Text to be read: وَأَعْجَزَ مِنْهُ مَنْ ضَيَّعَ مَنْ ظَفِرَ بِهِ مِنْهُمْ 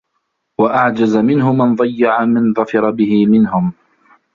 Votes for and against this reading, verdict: 1, 2, rejected